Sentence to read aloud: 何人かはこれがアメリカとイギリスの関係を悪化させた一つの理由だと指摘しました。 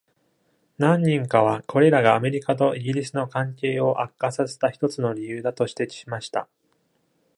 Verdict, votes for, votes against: rejected, 1, 2